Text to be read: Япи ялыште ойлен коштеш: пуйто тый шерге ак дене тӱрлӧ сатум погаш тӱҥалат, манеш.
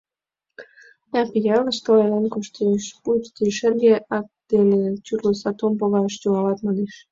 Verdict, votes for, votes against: rejected, 2, 4